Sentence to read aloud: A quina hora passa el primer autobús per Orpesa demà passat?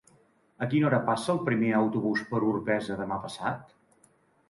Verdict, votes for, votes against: accepted, 2, 0